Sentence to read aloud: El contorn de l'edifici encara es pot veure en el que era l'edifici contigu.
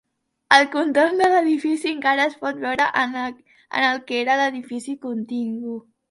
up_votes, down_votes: 2, 0